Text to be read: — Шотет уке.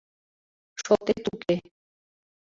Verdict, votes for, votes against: accepted, 2, 1